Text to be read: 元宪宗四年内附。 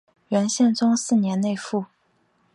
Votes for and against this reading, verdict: 4, 0, accepted